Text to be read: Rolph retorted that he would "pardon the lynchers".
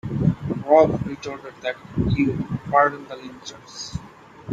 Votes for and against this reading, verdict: 0, 2, rejected